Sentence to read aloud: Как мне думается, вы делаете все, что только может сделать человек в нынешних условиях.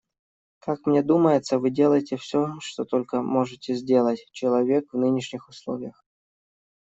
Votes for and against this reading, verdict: 1, 2, rejected